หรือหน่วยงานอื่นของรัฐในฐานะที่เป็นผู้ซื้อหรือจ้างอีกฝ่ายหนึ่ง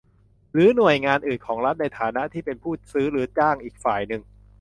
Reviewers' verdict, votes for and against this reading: accepted, 2, 0